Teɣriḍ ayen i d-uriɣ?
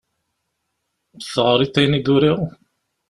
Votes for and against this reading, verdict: 2, 0, accepted